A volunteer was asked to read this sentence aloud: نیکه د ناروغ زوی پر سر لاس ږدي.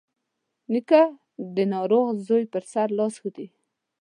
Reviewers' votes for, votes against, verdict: 2, 0, accepted